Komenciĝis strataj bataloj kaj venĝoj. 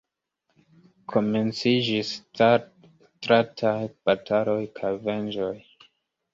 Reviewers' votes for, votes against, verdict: 1, 2, rejected